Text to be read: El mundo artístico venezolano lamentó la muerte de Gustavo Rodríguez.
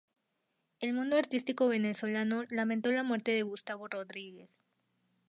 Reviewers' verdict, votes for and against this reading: accepted, 2, 0